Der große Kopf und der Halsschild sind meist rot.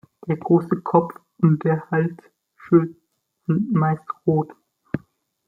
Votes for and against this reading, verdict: 2, 0, accepted